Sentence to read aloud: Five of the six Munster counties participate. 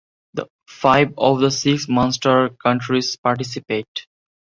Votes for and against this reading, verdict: 0, 2, rejected